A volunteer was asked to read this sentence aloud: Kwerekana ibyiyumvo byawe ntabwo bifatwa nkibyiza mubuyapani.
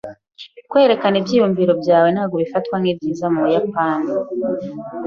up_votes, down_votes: 0, 2